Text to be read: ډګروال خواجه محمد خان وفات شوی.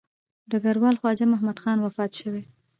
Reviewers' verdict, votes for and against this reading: rejected, 1, 2